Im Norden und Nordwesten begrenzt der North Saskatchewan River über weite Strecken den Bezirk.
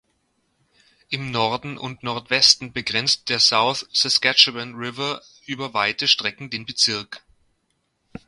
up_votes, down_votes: 0, 2